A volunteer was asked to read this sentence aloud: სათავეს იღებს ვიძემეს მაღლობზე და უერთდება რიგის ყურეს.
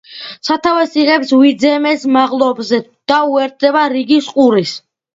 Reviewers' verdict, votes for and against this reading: accepted, 2, 0